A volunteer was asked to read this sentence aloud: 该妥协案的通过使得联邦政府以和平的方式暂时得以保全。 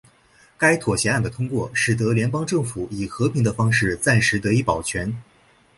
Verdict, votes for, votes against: accepted, 6, 0